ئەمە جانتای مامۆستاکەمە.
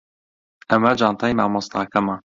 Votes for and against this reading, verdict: 2, 0, accepted